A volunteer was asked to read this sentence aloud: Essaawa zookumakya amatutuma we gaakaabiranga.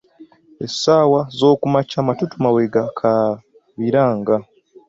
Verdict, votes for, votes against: rejected, 1, 3